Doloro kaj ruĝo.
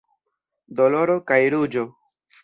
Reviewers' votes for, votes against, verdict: 2, 0, accepted